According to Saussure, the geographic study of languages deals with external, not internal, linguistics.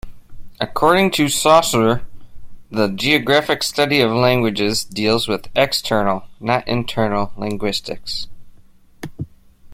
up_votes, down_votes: 3, 0